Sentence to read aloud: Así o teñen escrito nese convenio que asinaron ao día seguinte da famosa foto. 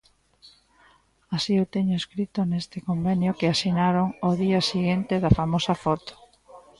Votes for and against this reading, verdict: 0, 2, rejected